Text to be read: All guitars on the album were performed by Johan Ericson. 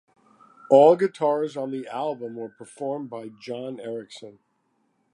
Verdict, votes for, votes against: rejected, 0, 2